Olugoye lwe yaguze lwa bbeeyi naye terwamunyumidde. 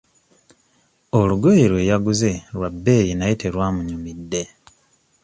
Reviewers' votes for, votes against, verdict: 2, 0, accepted